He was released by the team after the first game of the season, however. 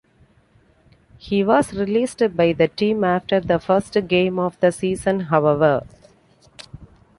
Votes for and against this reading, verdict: 2, 0, accepted